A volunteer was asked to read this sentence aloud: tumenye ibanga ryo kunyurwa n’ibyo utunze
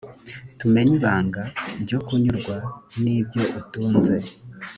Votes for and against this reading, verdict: 2, 0, accepted